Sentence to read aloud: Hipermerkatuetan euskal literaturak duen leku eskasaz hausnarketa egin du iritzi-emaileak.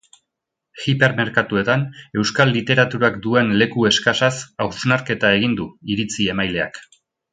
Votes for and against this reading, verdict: 1, 2, rejected